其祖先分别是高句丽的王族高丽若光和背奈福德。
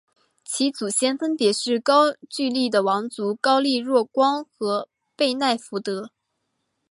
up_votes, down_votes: 3, 0